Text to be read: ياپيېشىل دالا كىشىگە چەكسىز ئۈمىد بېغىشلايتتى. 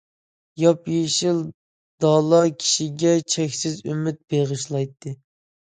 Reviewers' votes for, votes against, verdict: 2, 0, accepted